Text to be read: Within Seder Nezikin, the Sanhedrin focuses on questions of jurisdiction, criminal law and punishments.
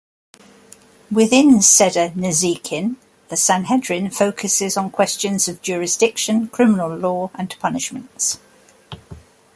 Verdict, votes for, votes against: accepted, 3, 0